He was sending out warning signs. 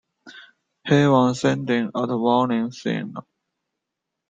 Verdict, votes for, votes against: accepted, 2, 0